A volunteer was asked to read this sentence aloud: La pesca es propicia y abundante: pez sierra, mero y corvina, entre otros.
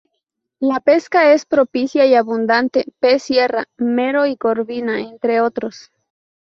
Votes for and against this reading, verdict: 0, 2, rejected